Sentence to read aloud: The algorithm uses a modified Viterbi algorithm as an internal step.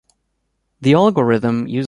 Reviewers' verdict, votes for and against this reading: rejected, 0, 2